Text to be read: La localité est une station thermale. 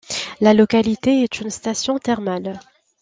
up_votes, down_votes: 2, 0